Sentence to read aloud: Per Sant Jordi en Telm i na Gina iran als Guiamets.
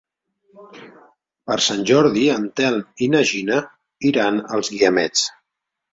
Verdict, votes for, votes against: accepted, 2, 0